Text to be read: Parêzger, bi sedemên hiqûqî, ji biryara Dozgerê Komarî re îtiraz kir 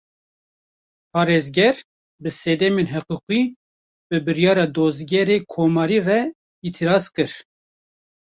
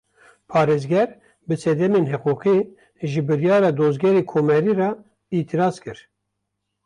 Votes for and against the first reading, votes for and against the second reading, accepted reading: 1, 2, 2, 1, second